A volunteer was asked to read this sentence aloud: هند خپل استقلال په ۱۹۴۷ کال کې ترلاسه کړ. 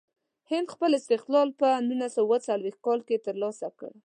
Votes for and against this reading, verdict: 0, 2, rejected